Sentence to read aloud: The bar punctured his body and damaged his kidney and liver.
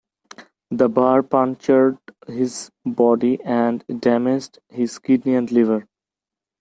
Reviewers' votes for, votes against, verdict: 2, 0, accepted